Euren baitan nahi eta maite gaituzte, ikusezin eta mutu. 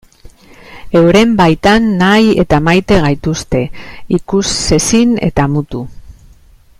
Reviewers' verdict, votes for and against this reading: accepted, 2, 0